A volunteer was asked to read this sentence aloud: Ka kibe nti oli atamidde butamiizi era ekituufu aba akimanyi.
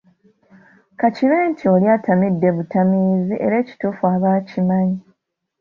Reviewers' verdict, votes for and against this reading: accepted, 2, 0